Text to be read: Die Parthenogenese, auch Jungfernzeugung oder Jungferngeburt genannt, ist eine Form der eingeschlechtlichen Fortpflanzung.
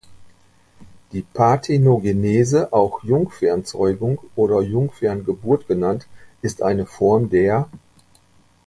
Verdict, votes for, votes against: rejected, 0, 2